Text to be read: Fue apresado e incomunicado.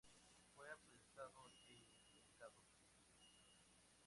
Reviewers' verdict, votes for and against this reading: accepted, 2, 0